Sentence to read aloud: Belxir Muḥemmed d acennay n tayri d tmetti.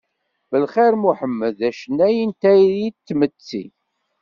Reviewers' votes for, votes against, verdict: 1, 2, rejected